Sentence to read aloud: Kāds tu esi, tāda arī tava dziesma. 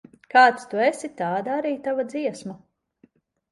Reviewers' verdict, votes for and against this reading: accepted, 3, 0